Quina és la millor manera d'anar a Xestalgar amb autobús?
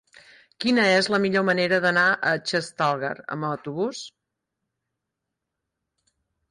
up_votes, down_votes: 2, 4